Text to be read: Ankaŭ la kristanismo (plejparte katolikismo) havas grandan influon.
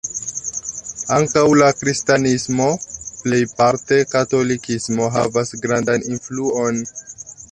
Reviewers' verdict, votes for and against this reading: accepted, 2, 1